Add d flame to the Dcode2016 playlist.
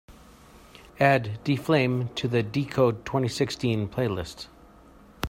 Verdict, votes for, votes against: rejected, 0, 2